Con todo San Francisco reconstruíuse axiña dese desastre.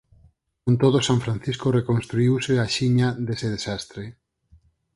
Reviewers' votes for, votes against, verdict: 4, 0, accepted